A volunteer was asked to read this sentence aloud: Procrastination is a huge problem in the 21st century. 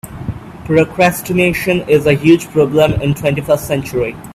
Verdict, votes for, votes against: rejected, 0, 2